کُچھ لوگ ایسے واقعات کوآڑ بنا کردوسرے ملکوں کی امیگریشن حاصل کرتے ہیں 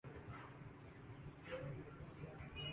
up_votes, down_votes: 0, 2